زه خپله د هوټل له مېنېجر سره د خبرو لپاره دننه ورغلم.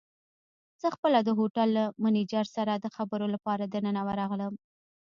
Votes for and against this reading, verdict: 2, 0, accepted